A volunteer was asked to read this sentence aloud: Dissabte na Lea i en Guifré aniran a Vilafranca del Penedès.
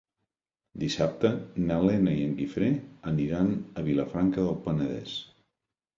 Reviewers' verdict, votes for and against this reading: rejected, 1, 2